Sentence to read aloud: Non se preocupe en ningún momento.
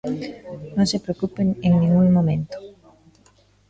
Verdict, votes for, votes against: rejected, 0, 2